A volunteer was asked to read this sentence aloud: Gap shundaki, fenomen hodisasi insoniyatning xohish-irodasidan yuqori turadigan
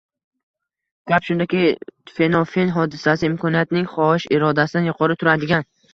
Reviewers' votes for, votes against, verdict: 1, 2, rejected